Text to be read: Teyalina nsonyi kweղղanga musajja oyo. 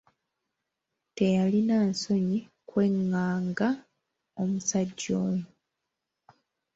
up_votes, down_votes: 0, 2